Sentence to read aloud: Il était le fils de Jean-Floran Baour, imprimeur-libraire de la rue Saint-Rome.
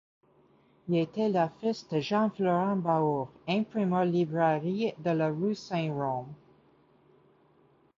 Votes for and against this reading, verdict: 0, 2, rejected